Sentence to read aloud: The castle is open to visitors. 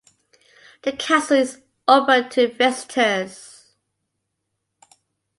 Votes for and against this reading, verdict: 2, 0, accepted